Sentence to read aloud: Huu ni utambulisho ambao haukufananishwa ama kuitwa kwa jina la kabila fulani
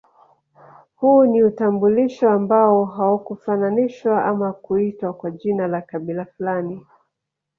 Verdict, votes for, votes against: rejected, 0, 2